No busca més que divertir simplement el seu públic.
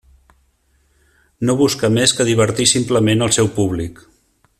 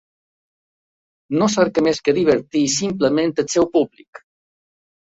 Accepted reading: first